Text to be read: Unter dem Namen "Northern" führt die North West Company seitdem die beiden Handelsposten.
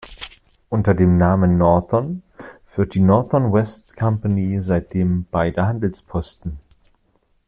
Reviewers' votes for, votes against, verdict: 1, 2, rejected